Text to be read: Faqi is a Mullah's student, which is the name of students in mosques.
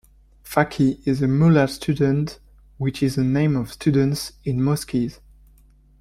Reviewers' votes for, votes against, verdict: 0, 2, rejected